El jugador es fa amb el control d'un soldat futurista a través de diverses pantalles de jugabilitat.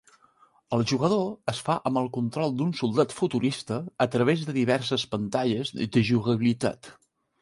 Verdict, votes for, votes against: rejected, 1, 2